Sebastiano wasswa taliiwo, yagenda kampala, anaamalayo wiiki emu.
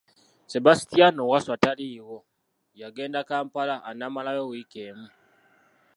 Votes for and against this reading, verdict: 0, 2, rejected